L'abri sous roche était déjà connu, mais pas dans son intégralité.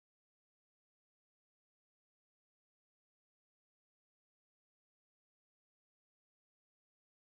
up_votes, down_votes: 0, 2